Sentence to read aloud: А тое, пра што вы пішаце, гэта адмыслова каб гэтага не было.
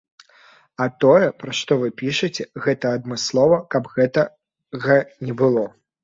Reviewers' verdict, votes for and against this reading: rejected, 0, 2